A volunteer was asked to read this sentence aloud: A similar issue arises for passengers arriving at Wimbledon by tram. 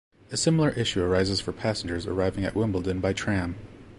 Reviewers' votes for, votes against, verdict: 2, 0, accepted